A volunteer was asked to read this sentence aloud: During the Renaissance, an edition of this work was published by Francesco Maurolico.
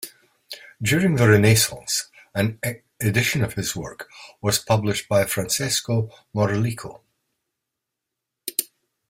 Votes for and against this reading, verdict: 1, 2, rejected